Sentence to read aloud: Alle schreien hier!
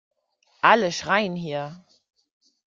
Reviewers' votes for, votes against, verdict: 2, 0, accepted